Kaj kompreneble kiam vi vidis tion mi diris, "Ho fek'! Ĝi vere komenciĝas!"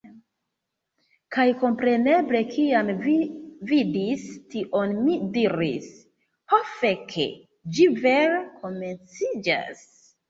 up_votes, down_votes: 2, 0